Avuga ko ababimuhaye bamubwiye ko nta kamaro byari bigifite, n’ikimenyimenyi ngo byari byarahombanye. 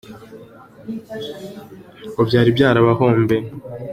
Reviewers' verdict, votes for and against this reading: rejected, 0, 4